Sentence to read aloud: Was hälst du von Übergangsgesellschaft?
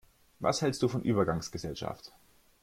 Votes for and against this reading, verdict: 2, 0, accepted